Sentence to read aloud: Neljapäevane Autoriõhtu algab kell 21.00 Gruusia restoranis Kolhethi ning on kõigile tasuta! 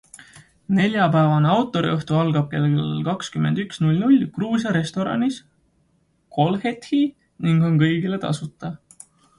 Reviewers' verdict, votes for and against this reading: rejected, 0, 2